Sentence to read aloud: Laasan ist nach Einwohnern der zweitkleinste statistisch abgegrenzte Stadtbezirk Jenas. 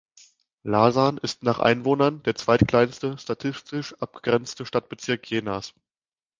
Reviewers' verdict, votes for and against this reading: rejected, 1, 2